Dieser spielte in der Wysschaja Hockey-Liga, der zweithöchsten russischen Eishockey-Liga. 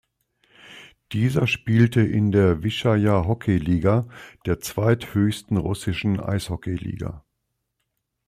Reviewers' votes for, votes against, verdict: 2, 0, accepted